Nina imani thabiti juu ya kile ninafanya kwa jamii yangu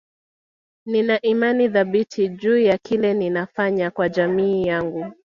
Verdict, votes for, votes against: accepted, 2, 0